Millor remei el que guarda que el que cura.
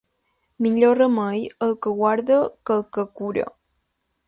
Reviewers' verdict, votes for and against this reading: accepted, 2, 0